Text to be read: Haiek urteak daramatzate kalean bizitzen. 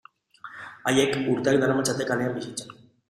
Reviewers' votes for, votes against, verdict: 2, 0, accepted